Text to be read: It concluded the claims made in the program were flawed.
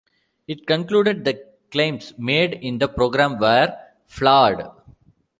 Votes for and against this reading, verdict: 2, 1, accepted